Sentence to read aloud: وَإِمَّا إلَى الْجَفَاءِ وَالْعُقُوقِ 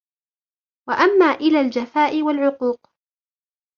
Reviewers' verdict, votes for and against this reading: rejected, 1, 2